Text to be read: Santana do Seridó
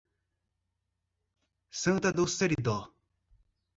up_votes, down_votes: 1, 2